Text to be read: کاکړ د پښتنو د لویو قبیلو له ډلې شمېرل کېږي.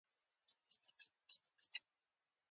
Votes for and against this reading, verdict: 0, 2, rejected